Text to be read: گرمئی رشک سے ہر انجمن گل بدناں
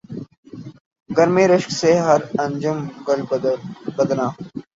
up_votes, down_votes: 0, 3